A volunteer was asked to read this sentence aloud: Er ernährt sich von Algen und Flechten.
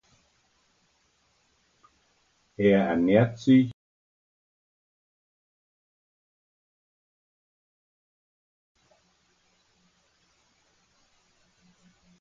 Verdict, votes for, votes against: rejected, 0, 2